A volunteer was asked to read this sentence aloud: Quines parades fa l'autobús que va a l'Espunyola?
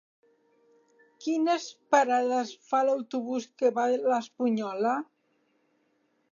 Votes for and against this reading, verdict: 3, 0, accepted